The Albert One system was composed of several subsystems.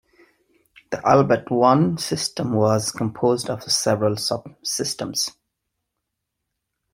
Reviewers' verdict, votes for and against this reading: accepted, 2, 0